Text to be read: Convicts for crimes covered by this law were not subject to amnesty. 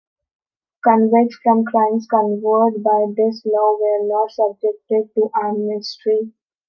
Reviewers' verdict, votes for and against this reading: rejected, 0, 2